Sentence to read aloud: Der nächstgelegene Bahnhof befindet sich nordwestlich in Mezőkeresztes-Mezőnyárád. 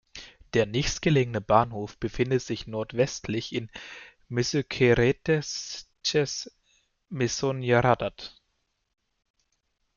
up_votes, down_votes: 2, 0